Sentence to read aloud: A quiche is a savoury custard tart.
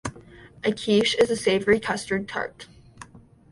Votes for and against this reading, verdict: 2, 1, accepted